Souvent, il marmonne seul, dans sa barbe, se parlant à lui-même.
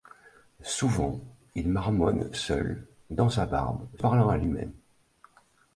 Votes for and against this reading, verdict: 1, 2, rejected